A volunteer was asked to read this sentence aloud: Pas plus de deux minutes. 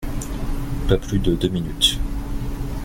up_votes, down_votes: 2, 0